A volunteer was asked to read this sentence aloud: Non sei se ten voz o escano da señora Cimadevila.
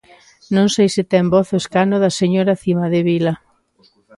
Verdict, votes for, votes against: accepted, 2, 0